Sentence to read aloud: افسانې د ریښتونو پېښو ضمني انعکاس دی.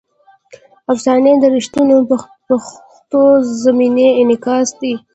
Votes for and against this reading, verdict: 0, 2, rejected